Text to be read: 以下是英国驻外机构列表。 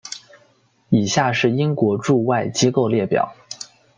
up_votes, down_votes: 2, 0